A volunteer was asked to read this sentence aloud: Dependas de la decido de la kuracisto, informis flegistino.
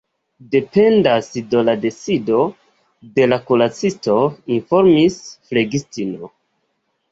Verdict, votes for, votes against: rejected, 0, 2